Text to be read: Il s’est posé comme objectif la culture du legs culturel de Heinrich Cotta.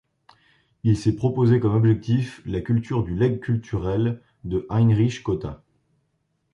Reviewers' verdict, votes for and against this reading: rejected, 1, 2